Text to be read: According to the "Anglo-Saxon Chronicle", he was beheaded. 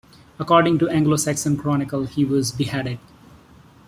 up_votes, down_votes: 2, 0